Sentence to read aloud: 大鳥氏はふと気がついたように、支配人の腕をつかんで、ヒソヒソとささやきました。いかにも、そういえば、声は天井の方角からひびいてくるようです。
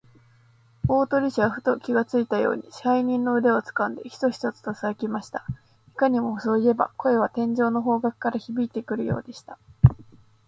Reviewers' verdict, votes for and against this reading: rejected, 1, 2